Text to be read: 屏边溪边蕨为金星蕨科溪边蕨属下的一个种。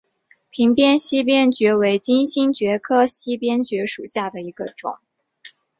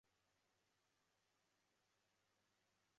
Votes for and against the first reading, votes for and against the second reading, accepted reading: 6, 2, 0, 3, first